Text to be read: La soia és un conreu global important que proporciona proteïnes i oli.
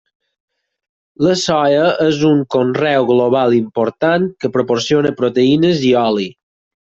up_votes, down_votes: 4, 0